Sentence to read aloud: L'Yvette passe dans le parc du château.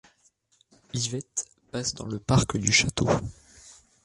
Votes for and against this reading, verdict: 2, 0, accepted